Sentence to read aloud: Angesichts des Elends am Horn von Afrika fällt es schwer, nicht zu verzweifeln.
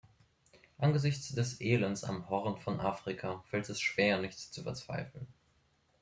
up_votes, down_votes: 2, 0